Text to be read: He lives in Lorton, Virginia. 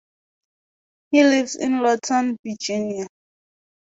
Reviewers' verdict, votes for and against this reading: rejected, 2, 2